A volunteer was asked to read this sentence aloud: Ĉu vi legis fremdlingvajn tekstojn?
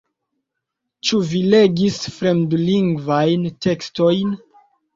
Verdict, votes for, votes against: accepted, 2, 0